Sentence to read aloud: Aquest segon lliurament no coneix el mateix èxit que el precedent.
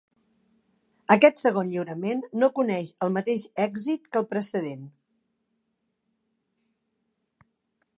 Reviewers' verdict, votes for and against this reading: accepted, 2, 0